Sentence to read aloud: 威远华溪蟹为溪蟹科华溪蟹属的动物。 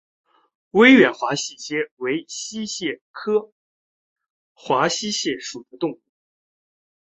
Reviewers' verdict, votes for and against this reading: accepted, 3, 0